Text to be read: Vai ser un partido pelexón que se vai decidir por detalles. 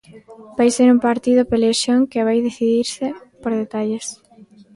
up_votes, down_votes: 0, 2